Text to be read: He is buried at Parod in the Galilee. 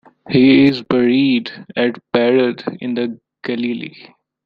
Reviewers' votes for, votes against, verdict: 2, 0, accepted